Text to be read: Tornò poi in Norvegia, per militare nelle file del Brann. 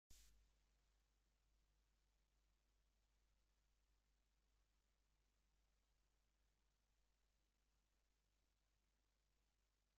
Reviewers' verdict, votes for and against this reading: rejected, 0, 2